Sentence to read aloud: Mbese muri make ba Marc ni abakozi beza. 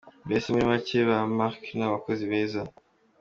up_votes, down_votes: 2, 0